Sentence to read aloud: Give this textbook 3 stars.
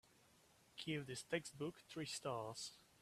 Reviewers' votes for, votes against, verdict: 0, 2, rejected